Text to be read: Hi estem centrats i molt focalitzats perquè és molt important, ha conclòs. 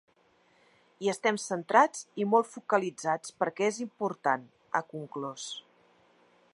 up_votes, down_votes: 0, 2